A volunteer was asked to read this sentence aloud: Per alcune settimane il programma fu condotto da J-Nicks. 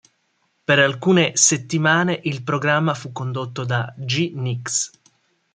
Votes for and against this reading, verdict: 1, 2, rejected